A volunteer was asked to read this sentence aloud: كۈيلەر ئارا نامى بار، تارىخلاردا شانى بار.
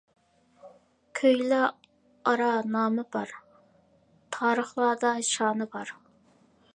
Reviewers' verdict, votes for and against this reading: rejected, 0, 2